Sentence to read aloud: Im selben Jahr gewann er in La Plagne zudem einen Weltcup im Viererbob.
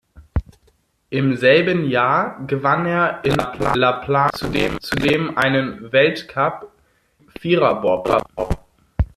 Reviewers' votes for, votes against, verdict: 0, 2, rejected